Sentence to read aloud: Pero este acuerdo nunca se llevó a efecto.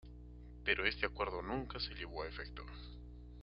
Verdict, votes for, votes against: accepted, 2, 1